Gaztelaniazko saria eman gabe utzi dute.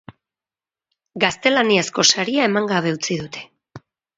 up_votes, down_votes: 2, 2